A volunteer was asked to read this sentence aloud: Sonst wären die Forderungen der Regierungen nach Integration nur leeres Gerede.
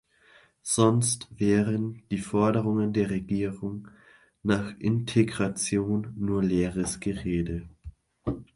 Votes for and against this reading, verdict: 0, 2, rejected